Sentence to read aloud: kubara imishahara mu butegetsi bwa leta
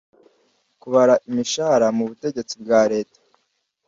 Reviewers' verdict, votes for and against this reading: accepted, 2, 0